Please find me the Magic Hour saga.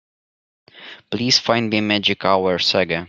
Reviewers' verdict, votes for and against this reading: rejected, 1, 2